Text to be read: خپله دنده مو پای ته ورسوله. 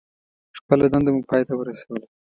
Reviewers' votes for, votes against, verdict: 1, 2, rejected